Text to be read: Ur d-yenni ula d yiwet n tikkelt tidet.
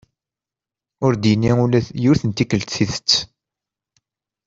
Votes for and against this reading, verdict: 1, 2, rejected